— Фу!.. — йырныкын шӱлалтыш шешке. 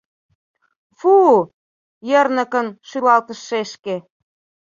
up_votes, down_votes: 2, 0